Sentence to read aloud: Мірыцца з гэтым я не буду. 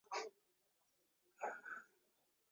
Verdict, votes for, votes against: rejected, 0, 2